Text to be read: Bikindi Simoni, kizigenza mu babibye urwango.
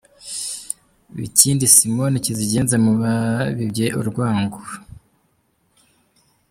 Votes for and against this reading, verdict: 2, 1, accepted